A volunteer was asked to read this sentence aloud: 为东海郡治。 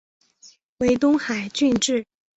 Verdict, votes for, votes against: accepted, 2, 0